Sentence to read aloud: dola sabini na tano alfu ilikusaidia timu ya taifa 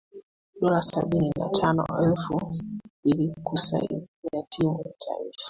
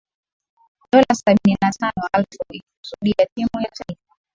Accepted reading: first